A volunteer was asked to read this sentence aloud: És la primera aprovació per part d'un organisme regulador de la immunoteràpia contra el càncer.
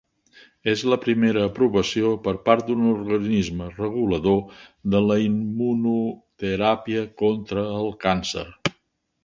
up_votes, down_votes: 3, 1